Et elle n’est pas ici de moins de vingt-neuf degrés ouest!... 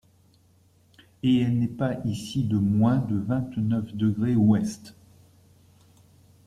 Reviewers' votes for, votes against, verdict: 1, 2, rejected